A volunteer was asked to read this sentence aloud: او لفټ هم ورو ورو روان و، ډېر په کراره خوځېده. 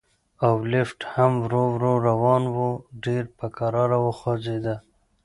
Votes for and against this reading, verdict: 2, 0, accepted